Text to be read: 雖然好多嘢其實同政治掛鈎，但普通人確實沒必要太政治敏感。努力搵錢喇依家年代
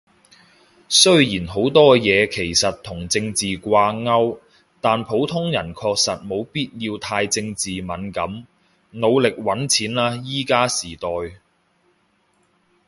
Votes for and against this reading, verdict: 0, 2, rejected